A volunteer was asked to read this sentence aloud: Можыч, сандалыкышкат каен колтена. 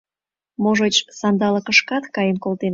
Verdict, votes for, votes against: rejected, 0, 2